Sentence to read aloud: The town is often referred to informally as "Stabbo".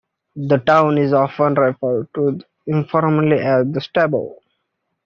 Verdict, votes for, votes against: accepted, 2, 1